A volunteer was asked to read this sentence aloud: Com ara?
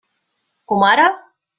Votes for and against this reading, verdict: 3, 0, accepted